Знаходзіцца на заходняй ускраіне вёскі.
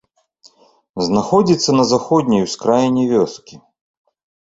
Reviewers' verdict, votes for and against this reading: accepted, 2, 0